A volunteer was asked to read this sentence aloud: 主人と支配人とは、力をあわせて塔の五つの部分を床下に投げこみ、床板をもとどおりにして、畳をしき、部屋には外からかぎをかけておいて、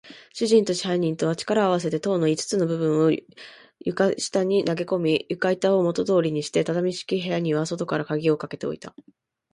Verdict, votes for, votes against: rejected, 2, 3